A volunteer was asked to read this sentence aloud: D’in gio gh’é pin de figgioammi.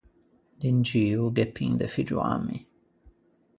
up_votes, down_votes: 4, 0